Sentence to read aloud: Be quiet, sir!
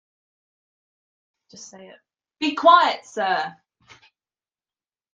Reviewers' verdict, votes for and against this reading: accepted, 2, 1